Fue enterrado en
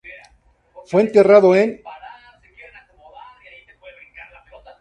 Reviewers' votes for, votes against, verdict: 0, 2, rejected